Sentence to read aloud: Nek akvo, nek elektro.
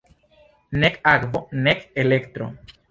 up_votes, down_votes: 1, 2